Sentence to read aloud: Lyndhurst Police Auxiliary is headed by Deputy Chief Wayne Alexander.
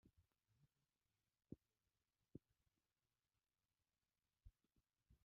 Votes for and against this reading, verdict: 0, 2, rejected